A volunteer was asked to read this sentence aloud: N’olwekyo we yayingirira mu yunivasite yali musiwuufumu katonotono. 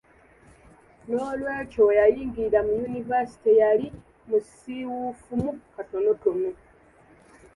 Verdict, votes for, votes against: accepted, 2, 0